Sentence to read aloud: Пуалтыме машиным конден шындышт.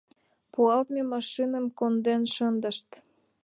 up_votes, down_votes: 2, 1